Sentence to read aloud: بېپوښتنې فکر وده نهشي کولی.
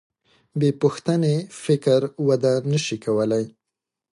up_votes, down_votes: 2, 0